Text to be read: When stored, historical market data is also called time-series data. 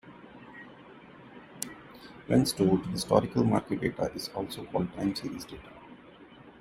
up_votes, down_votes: 2, 0